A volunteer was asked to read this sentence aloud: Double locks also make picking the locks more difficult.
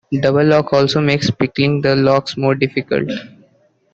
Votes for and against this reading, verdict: 2, 1, accepted